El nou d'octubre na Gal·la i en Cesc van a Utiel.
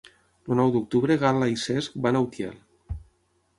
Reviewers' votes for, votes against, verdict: 3, 6, rejected